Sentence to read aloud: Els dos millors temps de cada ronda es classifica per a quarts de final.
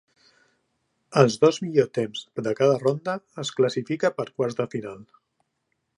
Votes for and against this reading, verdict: 1, 2, rejected